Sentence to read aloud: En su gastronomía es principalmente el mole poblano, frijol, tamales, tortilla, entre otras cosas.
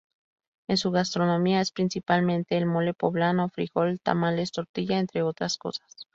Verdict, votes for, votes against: accepted, 2, 0